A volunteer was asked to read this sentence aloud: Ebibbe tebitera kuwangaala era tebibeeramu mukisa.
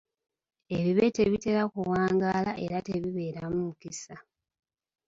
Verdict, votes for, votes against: rejected, 1, 2